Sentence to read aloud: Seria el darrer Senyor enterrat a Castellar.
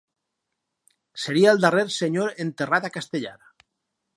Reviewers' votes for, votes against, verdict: 4, 0, accepted